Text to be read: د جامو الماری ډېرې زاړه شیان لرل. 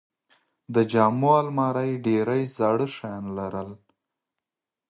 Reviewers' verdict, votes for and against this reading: accepted, 2, 0